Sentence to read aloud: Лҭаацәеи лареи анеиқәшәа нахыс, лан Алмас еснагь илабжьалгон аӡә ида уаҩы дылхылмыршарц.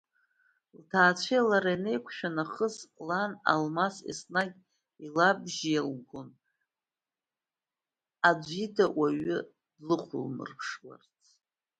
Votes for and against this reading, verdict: 1, 2, rejected